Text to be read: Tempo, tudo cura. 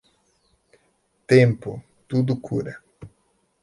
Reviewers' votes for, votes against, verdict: 2, 0, accepted